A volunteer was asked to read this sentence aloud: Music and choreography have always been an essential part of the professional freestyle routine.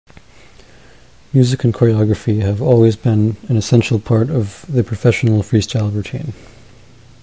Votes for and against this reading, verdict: 1, 2, rejected